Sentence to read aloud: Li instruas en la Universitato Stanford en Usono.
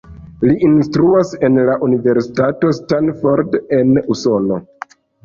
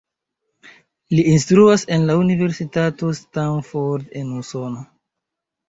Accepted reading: second